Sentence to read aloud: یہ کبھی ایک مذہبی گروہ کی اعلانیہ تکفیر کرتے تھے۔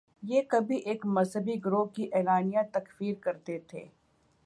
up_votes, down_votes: 2, 0